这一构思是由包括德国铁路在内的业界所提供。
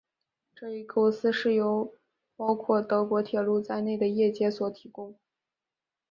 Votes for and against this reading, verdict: 4, 0, accepted